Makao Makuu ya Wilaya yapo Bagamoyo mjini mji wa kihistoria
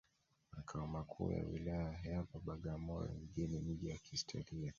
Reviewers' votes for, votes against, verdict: 0, 2, rejected